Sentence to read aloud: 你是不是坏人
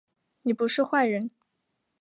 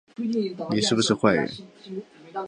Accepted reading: second